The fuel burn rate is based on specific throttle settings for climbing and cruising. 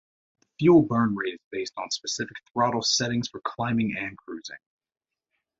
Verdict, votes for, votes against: rejected, 1, 2